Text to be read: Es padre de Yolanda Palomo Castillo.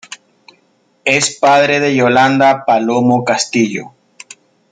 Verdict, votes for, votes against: accepted, 2, 0